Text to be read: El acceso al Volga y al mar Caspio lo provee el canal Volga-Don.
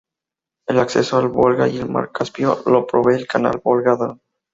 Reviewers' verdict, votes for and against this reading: rejected, 0, 2